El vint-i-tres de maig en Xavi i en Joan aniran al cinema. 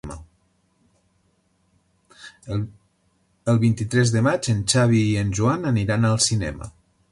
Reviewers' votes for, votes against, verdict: 0, 2, rejected